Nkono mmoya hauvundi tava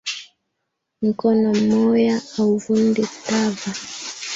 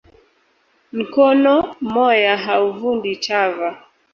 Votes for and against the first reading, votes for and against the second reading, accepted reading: 1, 2, 2, 1, second